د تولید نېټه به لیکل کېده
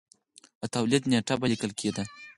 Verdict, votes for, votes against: accepted, 4, 0